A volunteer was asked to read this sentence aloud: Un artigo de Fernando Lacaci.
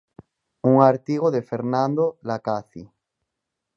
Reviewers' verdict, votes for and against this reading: accepted, 6, 0